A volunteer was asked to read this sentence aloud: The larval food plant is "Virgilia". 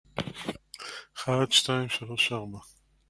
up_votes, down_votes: 0, 2